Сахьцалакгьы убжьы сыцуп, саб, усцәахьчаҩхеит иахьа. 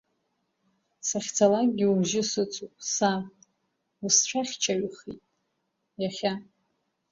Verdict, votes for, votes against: rejected, 1, 2